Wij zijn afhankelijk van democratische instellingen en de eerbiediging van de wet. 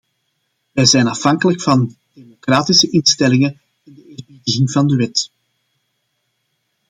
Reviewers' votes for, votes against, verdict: 0, 2, rejected